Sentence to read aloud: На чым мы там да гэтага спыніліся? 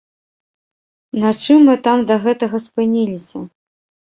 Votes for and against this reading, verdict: 2, 0, accepted